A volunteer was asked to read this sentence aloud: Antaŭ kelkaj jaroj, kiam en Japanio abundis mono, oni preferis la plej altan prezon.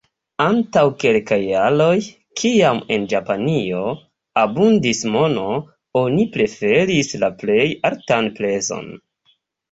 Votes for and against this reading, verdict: 1, 2, rejected